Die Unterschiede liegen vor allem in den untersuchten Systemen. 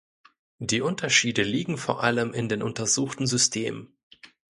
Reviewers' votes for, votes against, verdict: 2, 0, accepted